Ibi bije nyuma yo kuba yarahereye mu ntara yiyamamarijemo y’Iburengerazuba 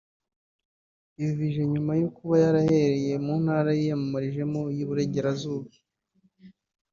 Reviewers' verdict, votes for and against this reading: accepted, 2, 0